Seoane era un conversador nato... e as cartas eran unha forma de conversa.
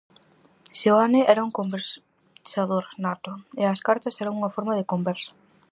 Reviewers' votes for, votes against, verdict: 0, 4, rejected